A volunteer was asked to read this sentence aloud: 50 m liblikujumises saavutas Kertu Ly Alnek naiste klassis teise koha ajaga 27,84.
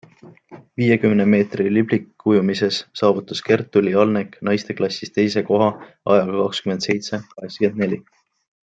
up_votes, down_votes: 0, 2